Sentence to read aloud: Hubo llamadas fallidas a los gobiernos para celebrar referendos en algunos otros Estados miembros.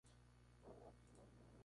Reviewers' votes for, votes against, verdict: 0, 4, rejected